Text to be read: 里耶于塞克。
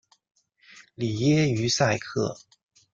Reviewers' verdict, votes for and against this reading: accepted, 2, 0